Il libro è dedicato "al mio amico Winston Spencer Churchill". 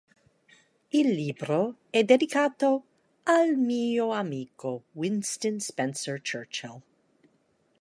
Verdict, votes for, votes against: accepted, 2, 0